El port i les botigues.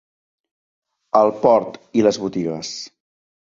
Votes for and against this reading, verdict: 2, 0, accepted